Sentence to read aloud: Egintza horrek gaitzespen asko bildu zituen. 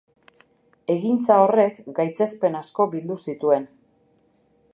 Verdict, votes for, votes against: accepted, 2, 0